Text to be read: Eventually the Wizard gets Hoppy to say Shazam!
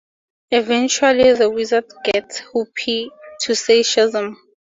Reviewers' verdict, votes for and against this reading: accepted, 2, 0